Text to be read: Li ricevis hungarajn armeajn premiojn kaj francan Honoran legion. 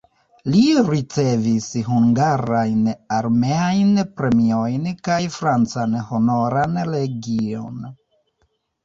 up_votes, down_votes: 1, 2